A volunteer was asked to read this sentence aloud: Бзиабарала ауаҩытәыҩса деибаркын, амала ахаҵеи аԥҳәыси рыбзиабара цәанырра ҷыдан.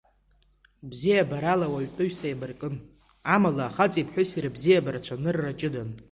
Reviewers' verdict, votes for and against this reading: accepted, 2, 0